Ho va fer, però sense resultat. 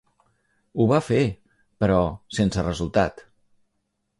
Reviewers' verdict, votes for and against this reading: accepted, 3, 0